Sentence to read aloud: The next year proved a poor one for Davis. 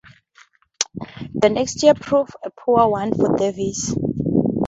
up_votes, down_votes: 2, 0